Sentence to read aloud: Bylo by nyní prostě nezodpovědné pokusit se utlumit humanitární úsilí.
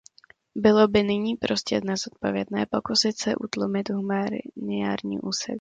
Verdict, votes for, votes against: rejected, 0, 2